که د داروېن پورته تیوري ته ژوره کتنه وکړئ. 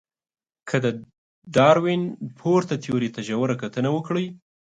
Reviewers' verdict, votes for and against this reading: accepted, 4, 1